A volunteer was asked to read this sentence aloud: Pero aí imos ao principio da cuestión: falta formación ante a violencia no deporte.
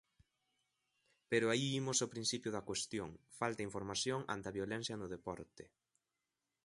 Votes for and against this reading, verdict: 1, 3, rejected